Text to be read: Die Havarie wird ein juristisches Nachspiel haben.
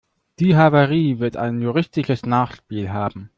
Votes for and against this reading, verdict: 1, 2, rejected